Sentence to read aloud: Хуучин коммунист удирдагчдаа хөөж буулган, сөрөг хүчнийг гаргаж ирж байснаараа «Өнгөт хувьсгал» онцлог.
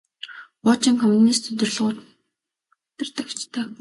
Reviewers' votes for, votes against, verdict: 0, 2, rejected